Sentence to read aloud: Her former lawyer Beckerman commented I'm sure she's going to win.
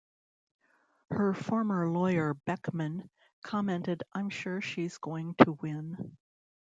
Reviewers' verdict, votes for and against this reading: rejected, 1, 2